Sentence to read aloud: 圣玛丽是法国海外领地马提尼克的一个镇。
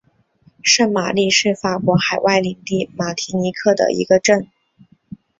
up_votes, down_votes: 3, 1